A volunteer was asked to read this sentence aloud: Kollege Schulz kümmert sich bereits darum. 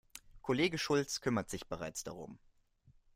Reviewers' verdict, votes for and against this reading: accepted, 2, 0